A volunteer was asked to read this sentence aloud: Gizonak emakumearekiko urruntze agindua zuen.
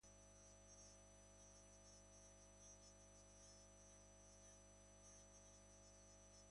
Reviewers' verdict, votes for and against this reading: rejected, 1, 3